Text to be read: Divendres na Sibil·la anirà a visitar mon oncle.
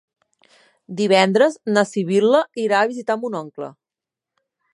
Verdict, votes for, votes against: rejected, 0, 2